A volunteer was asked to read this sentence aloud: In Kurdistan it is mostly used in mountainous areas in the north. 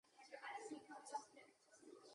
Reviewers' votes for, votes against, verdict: 0, 2, rejected